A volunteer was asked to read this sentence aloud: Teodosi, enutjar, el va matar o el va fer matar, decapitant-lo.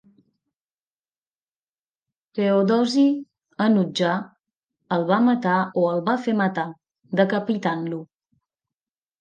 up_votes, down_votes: 2, 0